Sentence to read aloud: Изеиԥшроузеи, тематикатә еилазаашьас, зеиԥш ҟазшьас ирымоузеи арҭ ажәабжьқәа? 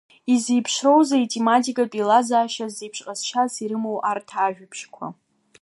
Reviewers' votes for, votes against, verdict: 0, 2, rejected